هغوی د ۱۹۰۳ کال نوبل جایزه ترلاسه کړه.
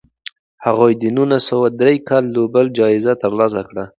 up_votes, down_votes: 0, 2